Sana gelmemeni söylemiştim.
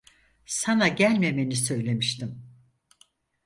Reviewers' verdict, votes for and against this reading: accepted, 4, 0